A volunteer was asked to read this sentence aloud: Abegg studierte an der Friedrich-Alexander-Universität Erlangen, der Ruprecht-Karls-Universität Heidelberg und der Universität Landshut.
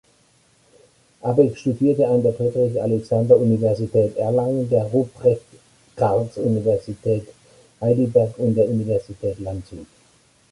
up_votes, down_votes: 2, 0